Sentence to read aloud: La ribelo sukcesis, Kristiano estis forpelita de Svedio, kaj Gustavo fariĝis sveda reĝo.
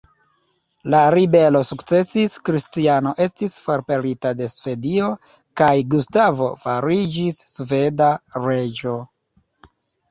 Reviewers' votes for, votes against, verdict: 2, 0, accepted